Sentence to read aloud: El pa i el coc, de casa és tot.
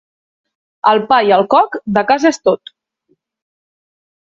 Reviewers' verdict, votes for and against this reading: accepted, 2, 0